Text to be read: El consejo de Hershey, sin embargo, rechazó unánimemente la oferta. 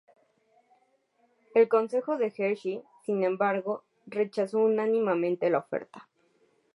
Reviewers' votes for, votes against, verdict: 4, 0, accepted